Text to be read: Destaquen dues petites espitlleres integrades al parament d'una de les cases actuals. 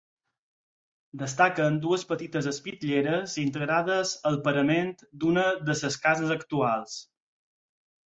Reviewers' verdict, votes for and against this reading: rejected, 0, 4